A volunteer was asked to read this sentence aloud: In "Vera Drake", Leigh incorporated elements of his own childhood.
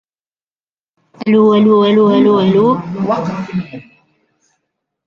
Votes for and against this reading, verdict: 0, 2, rejected